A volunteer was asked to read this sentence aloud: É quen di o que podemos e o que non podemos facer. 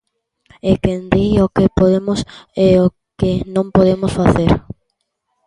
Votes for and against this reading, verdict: 1, 2, rejected